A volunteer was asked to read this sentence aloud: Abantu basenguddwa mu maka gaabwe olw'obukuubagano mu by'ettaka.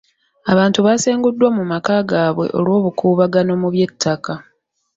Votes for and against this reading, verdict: 2, 0, accepted